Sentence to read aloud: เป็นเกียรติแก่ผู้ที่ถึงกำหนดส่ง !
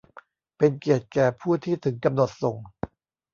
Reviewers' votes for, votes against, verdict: 2, 0, accepted